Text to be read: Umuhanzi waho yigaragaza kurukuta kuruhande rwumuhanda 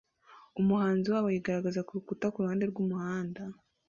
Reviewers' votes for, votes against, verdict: 2, 0, accepted